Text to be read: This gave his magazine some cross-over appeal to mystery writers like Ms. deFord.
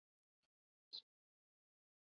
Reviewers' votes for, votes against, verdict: 0, 3, rejected